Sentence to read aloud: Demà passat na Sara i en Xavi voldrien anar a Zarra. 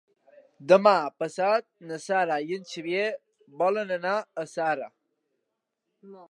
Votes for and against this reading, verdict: 0, 2, rejected